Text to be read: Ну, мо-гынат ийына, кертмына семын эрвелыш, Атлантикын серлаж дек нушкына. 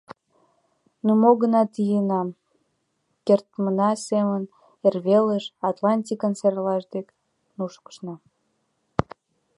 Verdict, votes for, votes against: accepted, 3, 2